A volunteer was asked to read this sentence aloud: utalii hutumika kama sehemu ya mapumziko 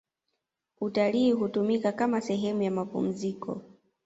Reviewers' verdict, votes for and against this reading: accepted, 2, 1